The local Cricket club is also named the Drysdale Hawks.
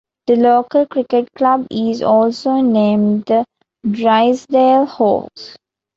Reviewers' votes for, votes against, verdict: 2, 0, accepted